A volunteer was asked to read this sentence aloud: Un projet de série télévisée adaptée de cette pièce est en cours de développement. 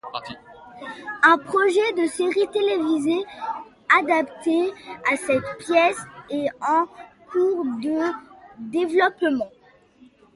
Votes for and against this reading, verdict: 1, 2, rejected